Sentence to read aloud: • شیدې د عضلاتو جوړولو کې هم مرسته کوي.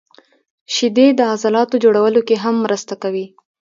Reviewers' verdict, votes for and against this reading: accepted, 2, 0